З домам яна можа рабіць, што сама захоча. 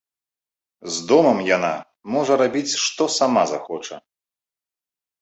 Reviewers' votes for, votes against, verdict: 2, 0, accepted